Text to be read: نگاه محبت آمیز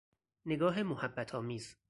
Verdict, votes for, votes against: accepted, 4, 0